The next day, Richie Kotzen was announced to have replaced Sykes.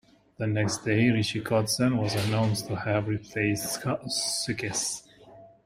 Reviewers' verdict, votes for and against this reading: rejected, 0, 2